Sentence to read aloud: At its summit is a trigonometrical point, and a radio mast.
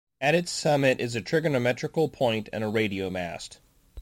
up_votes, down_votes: 2, 0